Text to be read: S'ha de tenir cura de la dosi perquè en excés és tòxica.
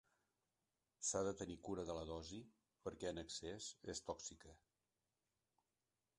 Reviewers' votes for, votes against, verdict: 1, 2, rejected